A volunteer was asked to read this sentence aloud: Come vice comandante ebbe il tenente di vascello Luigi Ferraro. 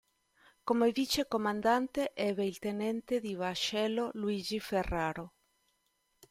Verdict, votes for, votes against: accepted, 2, 0